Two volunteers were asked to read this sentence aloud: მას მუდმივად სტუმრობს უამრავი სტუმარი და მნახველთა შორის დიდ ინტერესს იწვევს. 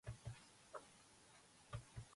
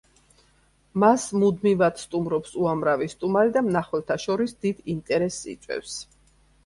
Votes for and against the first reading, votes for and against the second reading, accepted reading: 0, 2, 2, 0, second